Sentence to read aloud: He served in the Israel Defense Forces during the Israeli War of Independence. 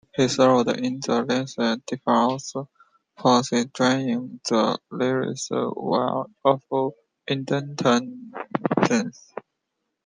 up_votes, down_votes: 0, 2